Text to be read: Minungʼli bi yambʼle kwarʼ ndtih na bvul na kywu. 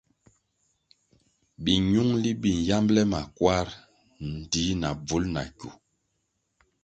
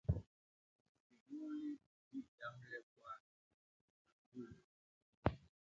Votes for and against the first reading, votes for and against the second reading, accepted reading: 2, 0, 0, 3, first